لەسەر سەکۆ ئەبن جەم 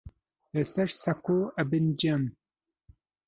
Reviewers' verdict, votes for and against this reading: accepted, 2, 0